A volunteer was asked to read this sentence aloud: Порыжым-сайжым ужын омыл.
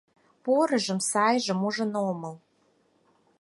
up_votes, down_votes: 4, 0